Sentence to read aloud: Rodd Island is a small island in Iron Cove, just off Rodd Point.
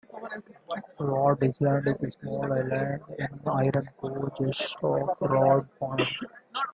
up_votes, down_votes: 0, 2